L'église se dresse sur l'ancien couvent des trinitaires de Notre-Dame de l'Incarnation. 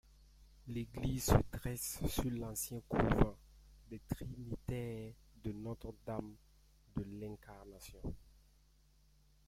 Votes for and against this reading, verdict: 2, 0, accepted